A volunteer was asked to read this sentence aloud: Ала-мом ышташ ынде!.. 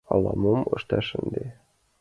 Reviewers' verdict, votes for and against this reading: accepted, 2, 0